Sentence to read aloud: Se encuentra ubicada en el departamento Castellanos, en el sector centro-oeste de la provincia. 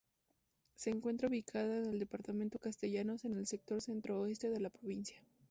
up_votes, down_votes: 2, 0